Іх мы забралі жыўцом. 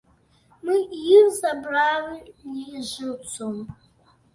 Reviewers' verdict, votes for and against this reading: rejected, 1, 2